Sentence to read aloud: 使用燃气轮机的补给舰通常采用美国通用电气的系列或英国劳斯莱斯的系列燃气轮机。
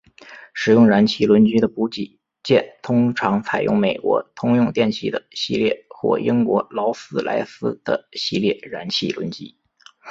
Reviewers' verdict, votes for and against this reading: rejected, 1, 2